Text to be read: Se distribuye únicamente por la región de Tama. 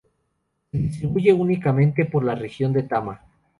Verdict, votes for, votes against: accepted, 2, 0